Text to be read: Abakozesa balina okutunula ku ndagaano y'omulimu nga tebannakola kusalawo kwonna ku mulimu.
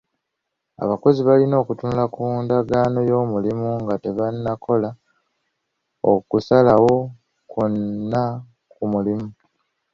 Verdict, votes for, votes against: rejected, 0, 2